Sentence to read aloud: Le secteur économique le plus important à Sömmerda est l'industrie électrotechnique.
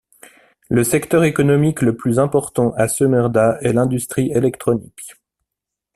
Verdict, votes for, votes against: rejected, 1, 2